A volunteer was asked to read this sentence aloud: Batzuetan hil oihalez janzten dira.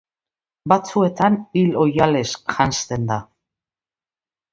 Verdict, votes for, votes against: rejected, 0, 2